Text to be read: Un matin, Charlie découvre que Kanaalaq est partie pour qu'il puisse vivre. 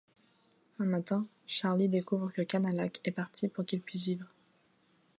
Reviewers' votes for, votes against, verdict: 2, 0, accepted